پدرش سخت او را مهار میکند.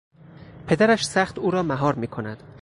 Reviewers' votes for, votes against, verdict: 4, 0, accepted